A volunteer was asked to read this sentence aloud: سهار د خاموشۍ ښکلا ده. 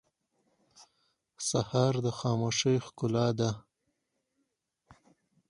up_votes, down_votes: 4, 0